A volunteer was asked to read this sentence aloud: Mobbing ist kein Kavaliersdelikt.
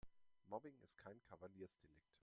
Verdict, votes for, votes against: rejected, 1, 2